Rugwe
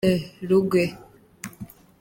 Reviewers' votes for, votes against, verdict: 2, 0, accepted